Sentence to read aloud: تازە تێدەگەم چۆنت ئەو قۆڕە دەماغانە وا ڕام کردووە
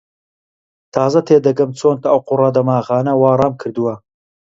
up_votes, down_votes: 0, 2